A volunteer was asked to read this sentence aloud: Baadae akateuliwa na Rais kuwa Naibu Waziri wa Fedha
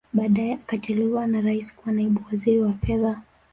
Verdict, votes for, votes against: accepted, 2, 0